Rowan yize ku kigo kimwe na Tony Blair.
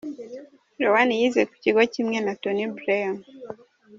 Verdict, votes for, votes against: rejected, 1, 2